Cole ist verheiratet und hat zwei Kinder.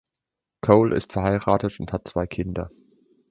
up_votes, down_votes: 2, 0